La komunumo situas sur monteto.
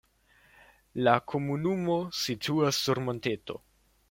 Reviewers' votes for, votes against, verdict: 2, 0, accepted